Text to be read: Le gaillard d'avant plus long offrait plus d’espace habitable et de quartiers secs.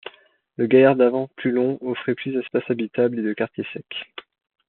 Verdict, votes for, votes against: accepted, 2, 0